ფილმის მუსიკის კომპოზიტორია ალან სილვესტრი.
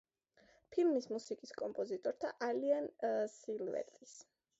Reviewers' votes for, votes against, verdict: 0, 2, rejected